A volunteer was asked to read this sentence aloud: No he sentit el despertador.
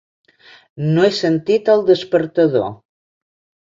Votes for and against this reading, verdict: 3, 0, accepted